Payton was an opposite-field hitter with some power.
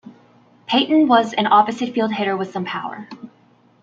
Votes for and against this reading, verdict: 2, 0, accepted